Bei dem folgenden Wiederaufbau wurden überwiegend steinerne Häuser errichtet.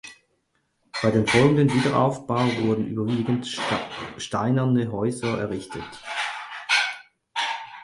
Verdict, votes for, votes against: rejected, 0, 6